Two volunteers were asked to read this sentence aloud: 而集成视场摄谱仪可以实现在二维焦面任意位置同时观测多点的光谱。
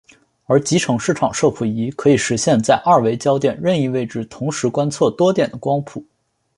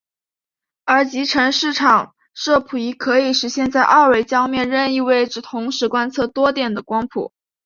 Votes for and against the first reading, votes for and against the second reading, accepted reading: 2, 0, 0, 3, first